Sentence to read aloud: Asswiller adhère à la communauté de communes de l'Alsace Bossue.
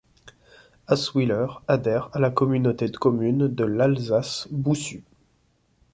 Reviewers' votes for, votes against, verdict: 2, 0, accepted